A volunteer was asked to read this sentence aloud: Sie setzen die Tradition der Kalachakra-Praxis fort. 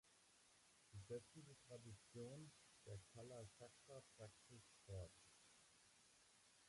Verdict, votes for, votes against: rejected, 0, 2